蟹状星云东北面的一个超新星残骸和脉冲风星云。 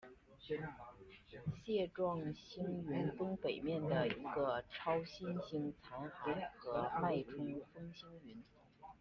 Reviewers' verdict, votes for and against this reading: accepted, 2, 0